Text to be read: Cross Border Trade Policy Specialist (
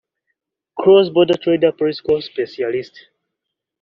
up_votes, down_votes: 2, 1